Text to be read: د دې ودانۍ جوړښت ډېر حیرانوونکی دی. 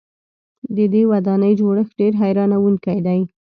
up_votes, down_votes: 1, 2